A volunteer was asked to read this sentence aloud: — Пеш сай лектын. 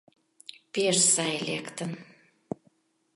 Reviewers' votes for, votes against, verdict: 2, 0, accepted